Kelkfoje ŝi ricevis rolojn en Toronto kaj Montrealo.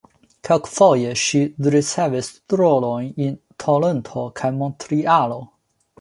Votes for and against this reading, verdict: 2, 1, accepted